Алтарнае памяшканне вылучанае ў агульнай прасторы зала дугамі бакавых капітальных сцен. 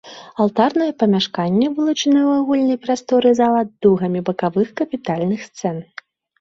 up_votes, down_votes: 0, 2